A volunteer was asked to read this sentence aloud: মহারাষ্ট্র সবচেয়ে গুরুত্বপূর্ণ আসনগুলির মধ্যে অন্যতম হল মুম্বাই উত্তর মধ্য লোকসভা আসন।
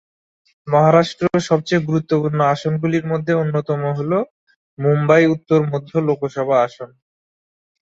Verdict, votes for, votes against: accepted, 7, 4